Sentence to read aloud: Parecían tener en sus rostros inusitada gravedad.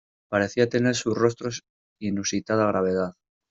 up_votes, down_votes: 1, 2